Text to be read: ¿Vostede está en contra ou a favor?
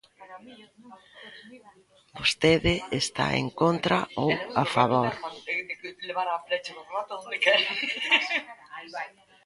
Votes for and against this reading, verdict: 1, 2, rejected